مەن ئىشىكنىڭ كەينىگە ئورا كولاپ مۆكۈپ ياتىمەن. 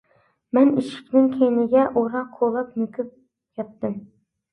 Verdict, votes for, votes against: rejected, 0, 2